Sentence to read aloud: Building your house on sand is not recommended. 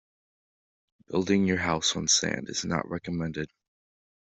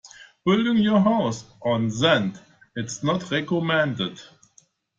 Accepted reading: first